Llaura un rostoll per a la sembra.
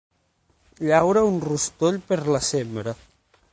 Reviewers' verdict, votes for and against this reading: rejected, 3, 6